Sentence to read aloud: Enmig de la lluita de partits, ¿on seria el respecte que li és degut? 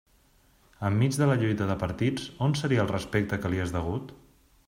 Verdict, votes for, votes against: accepted, 2, 0